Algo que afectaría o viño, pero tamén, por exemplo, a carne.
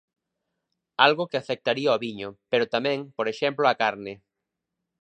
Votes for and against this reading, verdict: 2, 0, accepted